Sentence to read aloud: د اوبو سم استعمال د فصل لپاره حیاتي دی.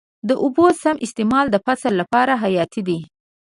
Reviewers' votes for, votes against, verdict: 2, 0, accepted